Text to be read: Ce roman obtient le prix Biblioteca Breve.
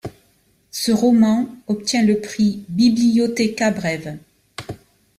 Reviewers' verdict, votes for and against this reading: accepted, 2, 0